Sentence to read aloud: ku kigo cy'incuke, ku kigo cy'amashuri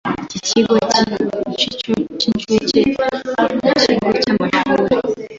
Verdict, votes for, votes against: rejected, 1, 2